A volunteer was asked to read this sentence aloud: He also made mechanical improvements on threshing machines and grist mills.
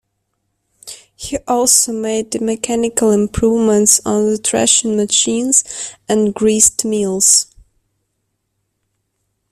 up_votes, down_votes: 0, 2